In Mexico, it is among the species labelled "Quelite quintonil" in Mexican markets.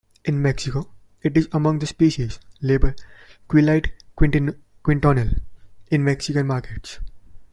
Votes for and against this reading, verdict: 2, 1, accepted